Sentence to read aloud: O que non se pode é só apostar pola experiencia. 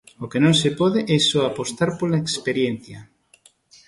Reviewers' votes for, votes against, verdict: 2, 0, accepted